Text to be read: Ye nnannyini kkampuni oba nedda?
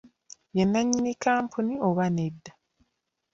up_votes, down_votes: 2, 0